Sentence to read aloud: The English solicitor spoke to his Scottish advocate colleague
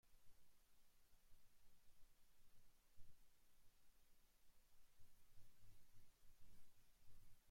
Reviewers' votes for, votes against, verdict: 0, 2, rejected